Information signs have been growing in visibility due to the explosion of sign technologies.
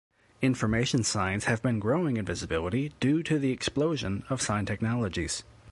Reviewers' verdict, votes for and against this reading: accepted, 2, 0